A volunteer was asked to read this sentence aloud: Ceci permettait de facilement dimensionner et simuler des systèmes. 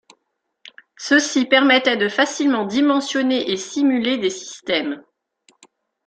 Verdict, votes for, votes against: accepted, 2, 0